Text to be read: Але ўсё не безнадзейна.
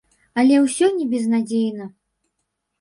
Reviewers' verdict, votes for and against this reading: accepted, 4, 0